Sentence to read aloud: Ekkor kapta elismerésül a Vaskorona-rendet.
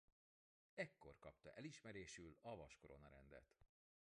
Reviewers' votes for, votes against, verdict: 1, 2, rejected